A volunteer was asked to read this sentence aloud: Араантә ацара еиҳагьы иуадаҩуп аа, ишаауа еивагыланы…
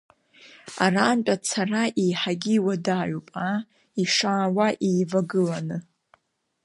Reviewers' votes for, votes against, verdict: 2, 0, accepted